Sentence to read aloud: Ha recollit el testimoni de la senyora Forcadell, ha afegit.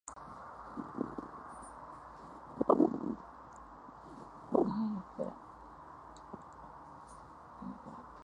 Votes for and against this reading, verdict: 0, 2, rejected